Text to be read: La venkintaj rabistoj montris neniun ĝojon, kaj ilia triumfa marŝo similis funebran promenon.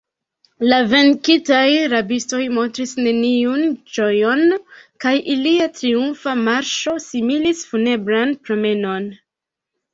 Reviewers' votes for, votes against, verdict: 1, 2, rejected